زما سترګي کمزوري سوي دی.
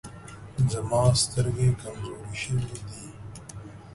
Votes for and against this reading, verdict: 0, 2, rejected